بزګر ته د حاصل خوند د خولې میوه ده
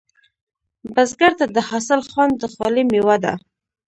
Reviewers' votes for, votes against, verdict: 0, 2, rejected